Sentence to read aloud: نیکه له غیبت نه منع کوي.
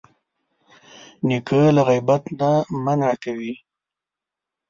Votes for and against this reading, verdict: 4, 1, accepted